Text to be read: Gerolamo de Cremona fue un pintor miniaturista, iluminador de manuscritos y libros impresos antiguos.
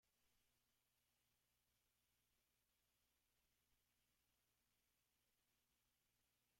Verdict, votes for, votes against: rejected, 0, 2